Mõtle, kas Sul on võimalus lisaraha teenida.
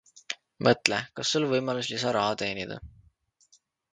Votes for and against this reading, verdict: 2, 0, accepted